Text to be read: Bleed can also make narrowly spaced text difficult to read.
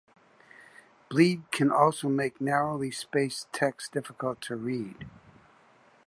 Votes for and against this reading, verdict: 2, 0, accepted